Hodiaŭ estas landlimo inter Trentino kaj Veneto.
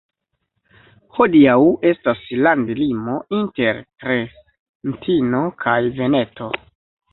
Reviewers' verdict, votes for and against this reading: accepted, 2, 0